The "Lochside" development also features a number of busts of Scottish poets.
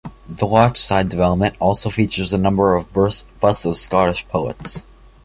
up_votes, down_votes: 0, 2